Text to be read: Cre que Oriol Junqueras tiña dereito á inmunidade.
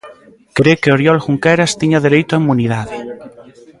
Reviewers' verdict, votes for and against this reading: accepted, 2, 0